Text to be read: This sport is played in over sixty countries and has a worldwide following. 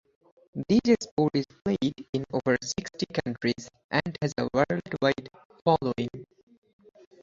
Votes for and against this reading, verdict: 0, 4, rejected